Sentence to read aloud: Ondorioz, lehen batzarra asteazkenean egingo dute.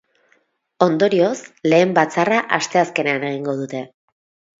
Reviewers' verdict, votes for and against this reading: accepted, 4, 0